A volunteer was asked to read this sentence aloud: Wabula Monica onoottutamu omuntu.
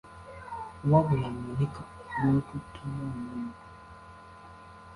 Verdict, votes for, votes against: rejected, 0, 2